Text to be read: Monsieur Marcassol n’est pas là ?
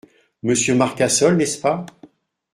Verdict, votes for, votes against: rejected, 0, 2